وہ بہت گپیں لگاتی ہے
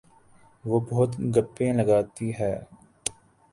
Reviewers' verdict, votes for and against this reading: accepted, 3, 0